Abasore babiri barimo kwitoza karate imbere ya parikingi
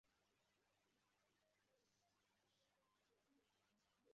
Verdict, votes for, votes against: rejected, 0, 2